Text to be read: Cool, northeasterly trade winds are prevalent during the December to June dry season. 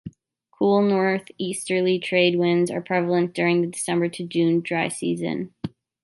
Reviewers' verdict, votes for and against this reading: accepted, 2, 1